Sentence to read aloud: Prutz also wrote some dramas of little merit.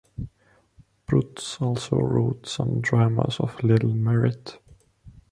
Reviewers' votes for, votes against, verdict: 2, 1, accepted